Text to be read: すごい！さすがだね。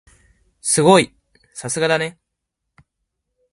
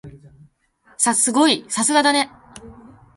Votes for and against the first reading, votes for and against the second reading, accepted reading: 2, 0, 0, 2, first